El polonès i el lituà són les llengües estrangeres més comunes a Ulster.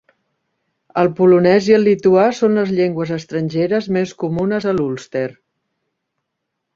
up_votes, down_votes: 0, 2